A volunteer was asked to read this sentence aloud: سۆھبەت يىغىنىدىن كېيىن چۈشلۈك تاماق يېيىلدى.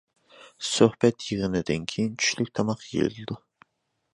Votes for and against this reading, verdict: 0, 2, rejected